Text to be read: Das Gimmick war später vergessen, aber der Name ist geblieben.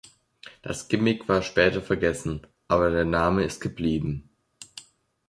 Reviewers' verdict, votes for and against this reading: accepted, 2, 0